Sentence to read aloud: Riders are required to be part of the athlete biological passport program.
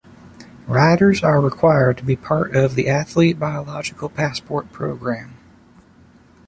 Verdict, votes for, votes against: accepted, 2, 0